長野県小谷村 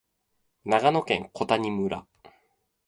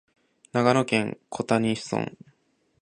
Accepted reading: second